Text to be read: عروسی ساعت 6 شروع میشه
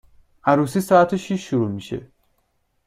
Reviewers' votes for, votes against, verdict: 0, 2, rejected